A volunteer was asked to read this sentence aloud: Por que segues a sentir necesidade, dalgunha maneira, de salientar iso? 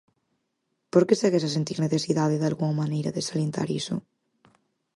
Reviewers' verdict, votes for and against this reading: accepted, 4, 0